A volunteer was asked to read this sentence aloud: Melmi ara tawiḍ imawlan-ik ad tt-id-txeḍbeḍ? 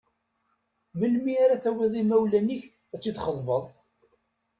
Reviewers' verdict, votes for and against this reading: accepted, 2, 0